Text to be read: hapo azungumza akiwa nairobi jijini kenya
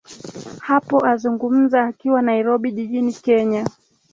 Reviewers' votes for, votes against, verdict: 3, 0, accepted